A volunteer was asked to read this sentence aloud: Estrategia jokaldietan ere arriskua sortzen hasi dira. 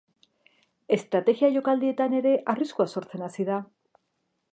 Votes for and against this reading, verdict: 0, 2, rejected